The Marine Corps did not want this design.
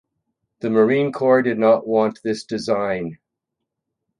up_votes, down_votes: 4, 0